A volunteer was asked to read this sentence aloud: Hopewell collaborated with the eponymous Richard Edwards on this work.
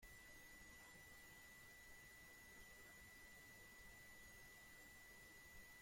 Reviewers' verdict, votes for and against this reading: rejected, 0, 2